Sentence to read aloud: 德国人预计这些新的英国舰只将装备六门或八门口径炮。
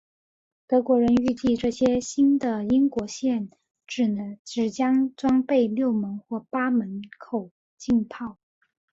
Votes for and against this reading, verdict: 2, 0, accepted